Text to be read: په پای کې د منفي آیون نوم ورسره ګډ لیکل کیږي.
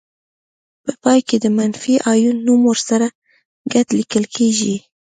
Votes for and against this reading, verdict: 2, 0, accepted